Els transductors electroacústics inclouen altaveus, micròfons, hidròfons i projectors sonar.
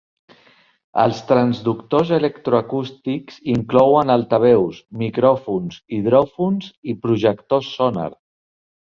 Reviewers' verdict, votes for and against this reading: accepted, 3, 0